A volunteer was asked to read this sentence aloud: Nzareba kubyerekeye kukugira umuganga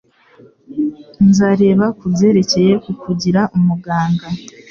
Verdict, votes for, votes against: accepted, 2, 0